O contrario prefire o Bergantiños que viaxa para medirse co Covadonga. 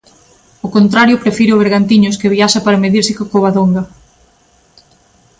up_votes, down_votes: 2, 0